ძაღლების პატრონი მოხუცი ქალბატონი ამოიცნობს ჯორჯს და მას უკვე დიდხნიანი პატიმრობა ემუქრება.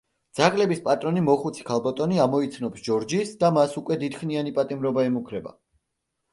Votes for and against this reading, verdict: 0, 2, rejected